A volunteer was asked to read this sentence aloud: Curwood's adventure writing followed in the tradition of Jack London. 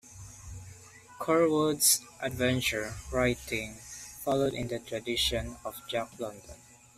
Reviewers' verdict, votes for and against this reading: accepted, 2, 0